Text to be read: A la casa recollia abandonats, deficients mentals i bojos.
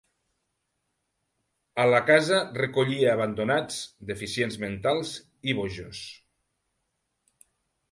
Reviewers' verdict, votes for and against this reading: accepted, 2, 0